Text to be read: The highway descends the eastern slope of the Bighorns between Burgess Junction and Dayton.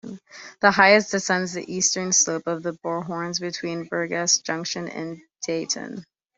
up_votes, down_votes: 0, 2